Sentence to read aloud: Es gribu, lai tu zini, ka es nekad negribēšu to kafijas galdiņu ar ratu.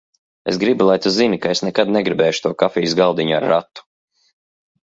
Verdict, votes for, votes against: accepted, 2, 0